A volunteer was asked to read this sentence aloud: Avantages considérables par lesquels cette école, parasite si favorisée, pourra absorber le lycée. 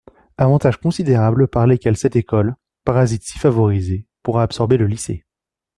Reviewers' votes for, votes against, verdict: 2, 0, accepted